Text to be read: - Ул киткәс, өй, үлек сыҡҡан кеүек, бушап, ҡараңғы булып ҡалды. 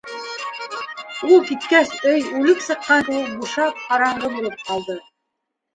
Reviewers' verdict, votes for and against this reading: rejected, 1, 2